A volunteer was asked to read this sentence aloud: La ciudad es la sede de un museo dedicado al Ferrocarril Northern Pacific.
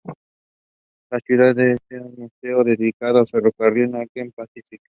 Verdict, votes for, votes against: rejected, 0, 2